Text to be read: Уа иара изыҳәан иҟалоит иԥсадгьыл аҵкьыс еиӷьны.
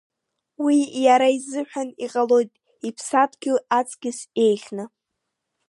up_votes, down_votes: 2, 0